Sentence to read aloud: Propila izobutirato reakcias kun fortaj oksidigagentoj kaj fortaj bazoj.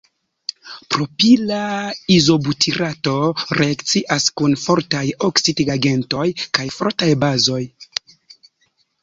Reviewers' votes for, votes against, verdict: 2, 3, rejected